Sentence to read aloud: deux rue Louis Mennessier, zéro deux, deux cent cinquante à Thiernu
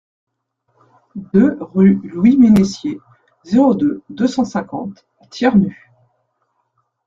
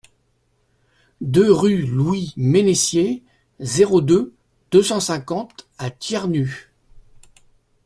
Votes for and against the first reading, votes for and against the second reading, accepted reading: 0, 2, 2, 0, second